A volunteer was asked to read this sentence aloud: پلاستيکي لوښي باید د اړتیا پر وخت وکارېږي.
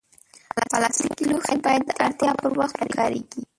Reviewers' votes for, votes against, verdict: 0, 2, rejected